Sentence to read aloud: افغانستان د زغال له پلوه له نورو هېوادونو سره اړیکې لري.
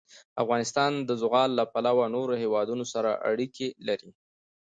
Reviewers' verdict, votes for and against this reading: accepted, 2, 0